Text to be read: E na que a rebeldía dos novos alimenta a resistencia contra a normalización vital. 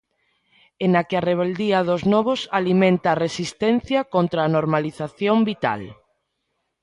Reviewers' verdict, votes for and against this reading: accepted, 2, 0